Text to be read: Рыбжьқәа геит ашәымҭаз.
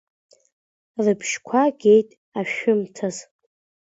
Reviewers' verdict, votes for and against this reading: accepted, 2, 0